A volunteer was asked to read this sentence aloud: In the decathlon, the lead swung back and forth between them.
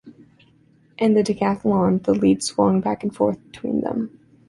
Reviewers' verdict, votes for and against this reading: accepted, 2, 0